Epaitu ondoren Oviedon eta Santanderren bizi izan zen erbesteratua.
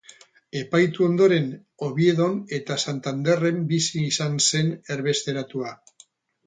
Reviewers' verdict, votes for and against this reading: accepted, 4, 0